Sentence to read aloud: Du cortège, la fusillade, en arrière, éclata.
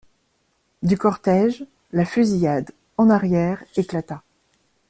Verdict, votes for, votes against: accepted, 2, 0